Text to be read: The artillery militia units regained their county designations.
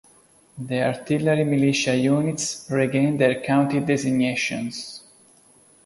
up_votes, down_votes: 2, 0